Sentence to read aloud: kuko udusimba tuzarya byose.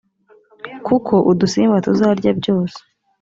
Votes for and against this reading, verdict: 3, 0, accepted